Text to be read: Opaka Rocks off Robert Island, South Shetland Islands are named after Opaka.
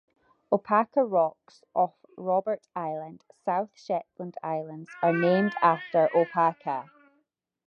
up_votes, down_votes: 2, 0